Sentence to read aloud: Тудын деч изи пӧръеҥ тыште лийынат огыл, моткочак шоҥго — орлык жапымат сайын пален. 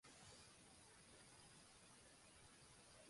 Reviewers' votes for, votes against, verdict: 0, 2, rejected